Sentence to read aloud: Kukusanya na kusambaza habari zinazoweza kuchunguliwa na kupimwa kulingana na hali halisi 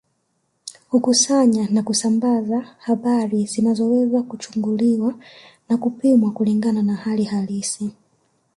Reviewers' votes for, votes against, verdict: 2, 0, accepted